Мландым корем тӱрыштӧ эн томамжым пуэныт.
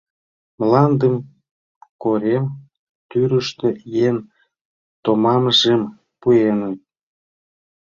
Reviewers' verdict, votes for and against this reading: rejected, 1, 2